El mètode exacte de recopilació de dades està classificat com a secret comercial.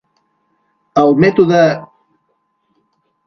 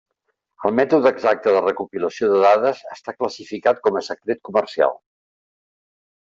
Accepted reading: second